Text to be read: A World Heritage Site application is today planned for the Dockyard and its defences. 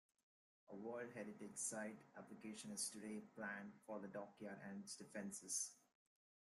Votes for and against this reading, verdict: 1, 3, rejected